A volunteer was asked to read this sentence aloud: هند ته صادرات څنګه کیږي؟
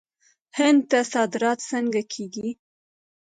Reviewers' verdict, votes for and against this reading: rejected, 1, 2